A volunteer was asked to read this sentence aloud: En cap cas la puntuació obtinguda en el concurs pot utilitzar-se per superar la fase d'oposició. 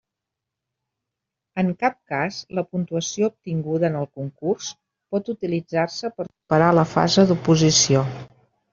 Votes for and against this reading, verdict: 0, 2, rejected